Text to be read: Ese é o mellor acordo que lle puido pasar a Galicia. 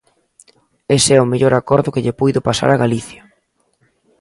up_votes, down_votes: 2, 0